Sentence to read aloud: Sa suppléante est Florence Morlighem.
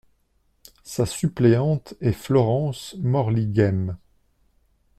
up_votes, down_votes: 2, 0